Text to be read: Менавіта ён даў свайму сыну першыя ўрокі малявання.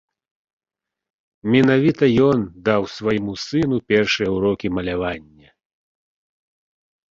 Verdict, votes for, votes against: accepted, 2, 0